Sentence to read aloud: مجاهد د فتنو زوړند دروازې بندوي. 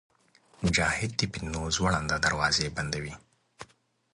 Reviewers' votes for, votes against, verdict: 2, 0, accepted